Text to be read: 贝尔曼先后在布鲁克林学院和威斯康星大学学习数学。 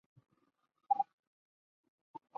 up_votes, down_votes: 0, 3